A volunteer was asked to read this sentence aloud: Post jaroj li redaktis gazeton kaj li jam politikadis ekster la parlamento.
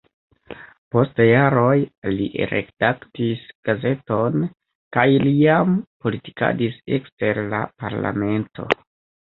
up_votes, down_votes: 1, 2